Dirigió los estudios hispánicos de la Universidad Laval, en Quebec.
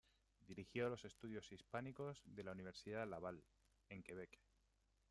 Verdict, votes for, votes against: accepted, 2, 0